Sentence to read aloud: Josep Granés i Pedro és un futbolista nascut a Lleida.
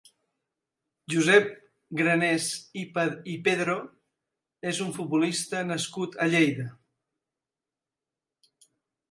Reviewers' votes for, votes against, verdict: 1, 2, rejected